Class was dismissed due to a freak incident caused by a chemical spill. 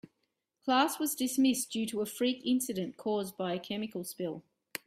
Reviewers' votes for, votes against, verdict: 2, 0, accepted